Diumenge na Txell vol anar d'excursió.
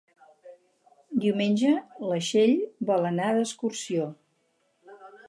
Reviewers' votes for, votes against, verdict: 0, 6, rejected